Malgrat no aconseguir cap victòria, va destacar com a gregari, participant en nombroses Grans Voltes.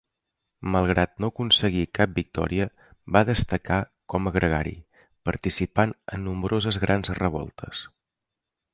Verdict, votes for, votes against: rejected, 0, 2